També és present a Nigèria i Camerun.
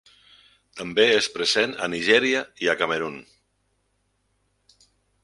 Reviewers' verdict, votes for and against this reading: rejected, 0, 4